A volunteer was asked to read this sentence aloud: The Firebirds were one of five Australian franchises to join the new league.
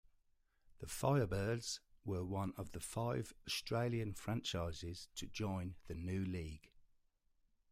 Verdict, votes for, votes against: rejected, 1, 2